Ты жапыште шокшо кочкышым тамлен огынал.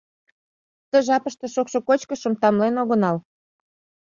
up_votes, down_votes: 2, 0